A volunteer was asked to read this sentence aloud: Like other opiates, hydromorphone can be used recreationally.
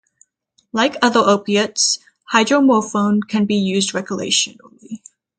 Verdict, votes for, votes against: rejected, 3, 3